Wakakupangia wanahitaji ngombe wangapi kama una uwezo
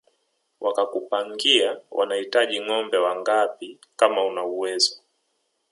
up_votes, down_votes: 2, 0